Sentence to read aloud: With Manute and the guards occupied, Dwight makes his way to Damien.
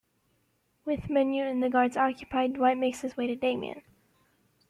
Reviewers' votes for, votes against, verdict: 2, 0, accepted